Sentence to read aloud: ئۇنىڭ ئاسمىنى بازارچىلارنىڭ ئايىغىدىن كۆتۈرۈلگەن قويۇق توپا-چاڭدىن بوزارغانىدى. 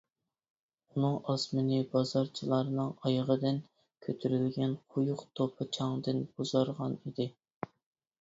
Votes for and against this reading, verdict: 0, 2, rejected